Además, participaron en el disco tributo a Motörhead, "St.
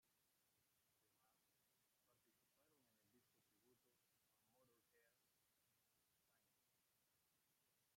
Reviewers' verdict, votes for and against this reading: rejected, 0, 2